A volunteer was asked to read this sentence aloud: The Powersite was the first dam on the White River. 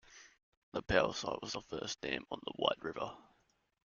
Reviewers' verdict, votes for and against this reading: rejected, 1, 2